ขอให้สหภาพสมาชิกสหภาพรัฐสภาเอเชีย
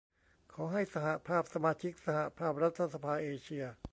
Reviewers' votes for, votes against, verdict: 1, 2, rejected